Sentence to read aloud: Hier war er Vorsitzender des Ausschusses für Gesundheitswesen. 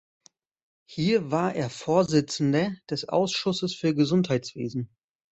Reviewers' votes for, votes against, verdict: 1, 2, rejected